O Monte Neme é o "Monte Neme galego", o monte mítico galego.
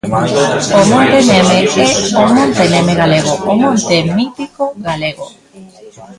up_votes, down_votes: 2, 1